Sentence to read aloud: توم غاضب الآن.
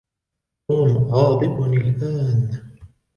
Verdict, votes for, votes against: accepted, 2, 0